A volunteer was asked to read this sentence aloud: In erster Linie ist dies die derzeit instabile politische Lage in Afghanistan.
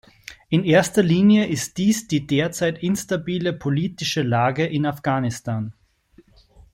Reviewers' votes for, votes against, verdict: 1, 2, rejected